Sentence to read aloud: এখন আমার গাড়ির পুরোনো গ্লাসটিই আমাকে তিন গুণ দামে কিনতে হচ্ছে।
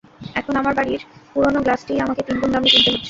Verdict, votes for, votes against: rejected, 0, 2